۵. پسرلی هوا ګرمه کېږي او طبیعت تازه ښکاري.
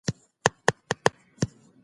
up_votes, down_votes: 0, 2